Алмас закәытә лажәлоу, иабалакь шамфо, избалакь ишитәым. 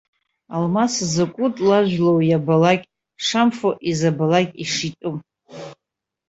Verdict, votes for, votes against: rejected, 0, 2